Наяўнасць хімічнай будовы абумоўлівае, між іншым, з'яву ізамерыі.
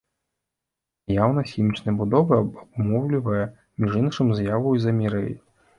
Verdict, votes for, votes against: rejected, 1, 2